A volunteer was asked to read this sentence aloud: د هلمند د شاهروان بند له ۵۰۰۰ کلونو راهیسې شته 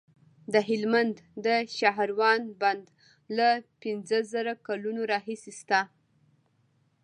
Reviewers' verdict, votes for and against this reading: rejected, 0, 2